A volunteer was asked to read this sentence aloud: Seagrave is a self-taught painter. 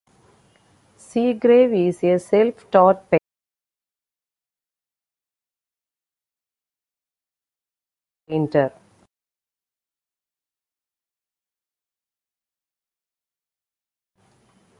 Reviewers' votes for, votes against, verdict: 0, 2, rejected